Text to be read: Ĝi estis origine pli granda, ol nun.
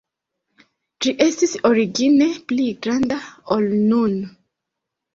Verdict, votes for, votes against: accepted, 2, 0